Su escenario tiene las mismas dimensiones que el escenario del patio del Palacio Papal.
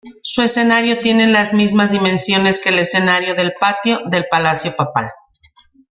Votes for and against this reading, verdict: 2, 0, accepted